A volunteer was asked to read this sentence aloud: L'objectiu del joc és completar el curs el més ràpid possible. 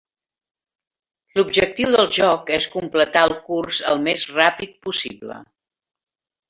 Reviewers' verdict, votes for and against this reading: rejected, 1, 3